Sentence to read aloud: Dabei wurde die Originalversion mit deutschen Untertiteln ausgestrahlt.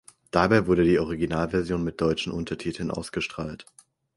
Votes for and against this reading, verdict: 4, 0, accepted